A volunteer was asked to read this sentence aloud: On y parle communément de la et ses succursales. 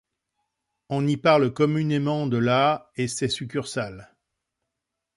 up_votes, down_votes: 2, 0